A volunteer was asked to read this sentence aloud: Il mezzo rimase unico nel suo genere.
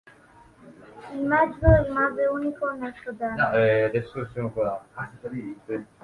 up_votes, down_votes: 0, 3